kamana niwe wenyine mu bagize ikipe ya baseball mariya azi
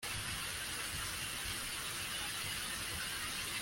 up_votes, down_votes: 1, 2